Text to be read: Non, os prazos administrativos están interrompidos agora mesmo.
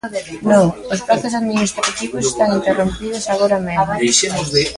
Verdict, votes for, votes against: rejected, 0, 2